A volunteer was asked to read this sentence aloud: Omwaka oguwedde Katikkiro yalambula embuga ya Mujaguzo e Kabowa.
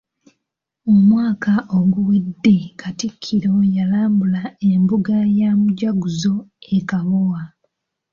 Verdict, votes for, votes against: accepted, 2, 1